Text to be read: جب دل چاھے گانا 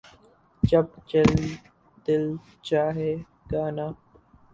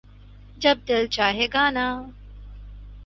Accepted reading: second